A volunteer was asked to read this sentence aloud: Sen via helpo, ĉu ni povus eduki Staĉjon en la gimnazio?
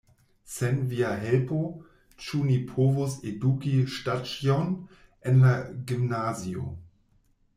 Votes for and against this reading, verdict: 0, 2, rejected